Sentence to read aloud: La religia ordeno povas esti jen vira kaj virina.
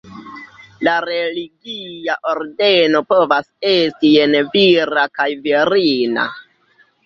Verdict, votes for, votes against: rejected, 1, 2